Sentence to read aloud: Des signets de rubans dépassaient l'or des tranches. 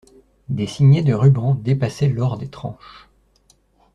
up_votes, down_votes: 2, 0